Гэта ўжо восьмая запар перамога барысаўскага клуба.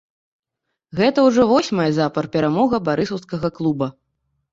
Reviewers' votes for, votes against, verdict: 0, 2, rejected